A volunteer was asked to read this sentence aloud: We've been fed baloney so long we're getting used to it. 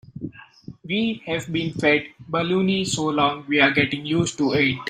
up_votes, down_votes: 1, 3